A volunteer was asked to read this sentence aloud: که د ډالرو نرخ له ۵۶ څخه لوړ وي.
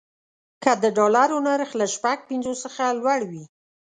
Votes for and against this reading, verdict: 0, 2, rejected